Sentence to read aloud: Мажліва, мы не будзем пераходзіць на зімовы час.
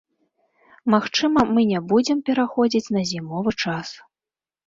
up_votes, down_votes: 0, 2